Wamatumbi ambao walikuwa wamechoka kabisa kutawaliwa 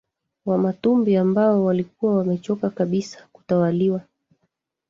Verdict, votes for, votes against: rejected, 1, 2